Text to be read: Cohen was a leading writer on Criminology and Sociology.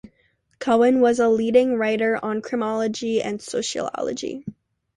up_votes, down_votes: 2, 0